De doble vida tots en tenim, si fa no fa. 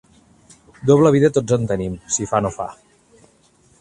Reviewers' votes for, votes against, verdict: 0, 2, rejected